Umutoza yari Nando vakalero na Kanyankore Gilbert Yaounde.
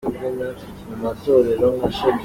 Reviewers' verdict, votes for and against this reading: rejected, 0, 2